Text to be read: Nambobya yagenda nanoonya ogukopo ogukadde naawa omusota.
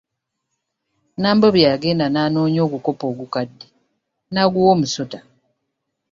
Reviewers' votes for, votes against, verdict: 1, 2, rejected